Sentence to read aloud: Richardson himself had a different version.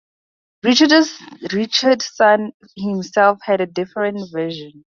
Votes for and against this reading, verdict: 0, 4, rejected